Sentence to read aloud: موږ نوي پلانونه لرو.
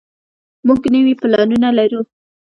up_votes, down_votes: 2, 0